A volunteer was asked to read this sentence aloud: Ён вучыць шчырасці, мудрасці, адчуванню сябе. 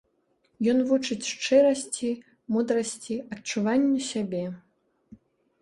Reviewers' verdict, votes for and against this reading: accepted, 2, 0